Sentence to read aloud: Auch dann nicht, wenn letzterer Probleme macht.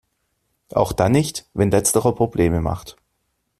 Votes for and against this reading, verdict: 2, 0, accepted